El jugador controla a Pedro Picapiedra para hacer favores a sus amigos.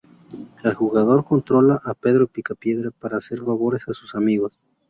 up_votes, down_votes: 0, 2